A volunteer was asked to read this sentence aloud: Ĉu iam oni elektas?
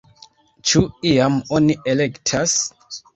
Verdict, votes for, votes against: accepted, 2, 1